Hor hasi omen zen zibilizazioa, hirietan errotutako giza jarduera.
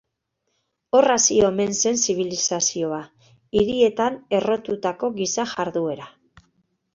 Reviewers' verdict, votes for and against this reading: accepted, 3, 0